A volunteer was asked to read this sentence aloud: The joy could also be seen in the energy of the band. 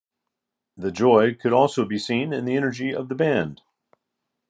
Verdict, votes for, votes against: accepted, 2, 0